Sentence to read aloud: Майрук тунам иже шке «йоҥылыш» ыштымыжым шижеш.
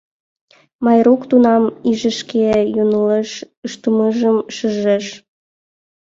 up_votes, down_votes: 2, 1